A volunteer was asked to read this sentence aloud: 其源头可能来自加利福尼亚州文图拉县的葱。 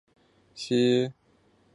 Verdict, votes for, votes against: rejected, 0, 2